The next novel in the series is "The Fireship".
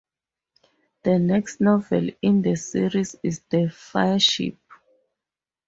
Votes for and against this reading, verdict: 2, 0, accepted